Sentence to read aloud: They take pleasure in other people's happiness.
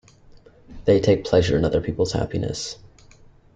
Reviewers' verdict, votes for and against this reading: accepted, 2, 0